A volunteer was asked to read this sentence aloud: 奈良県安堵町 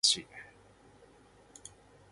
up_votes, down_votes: 0, 2